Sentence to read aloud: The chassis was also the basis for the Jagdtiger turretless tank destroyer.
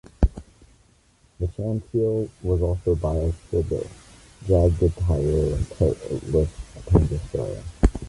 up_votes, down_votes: 1, 2